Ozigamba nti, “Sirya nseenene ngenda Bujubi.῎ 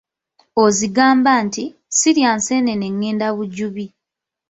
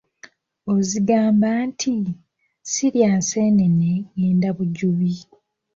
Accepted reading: second